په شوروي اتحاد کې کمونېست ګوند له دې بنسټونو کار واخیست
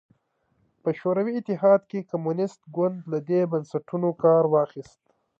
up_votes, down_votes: 2, 0